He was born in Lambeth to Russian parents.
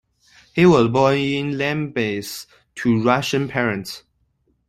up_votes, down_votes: 0, 2